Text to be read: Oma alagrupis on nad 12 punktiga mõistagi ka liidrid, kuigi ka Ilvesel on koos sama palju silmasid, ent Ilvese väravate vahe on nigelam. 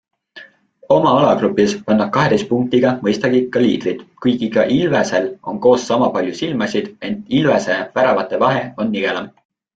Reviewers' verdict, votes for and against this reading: rejected, 0, 2